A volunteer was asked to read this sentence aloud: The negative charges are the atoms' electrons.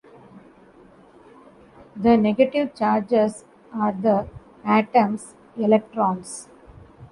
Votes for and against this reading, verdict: 2, 0, accepted